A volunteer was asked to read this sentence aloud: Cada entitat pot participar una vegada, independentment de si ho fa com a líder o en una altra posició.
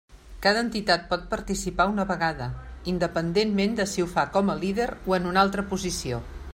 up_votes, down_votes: 3, 0